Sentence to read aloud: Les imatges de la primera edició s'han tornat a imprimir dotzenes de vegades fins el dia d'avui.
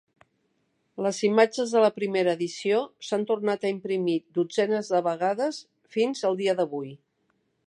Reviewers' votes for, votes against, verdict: 1, 2, rejected